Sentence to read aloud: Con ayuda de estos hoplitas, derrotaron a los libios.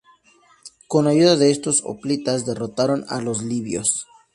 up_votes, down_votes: 2, 0